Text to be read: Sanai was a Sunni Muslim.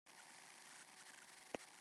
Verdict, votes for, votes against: rejected, 0, 2